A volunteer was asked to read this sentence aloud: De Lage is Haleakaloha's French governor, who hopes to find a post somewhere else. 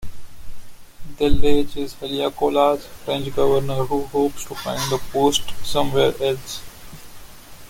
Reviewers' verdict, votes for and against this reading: accepted, 2, 0